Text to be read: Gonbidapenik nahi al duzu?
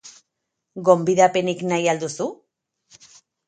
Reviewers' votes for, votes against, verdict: 4, 2, accepted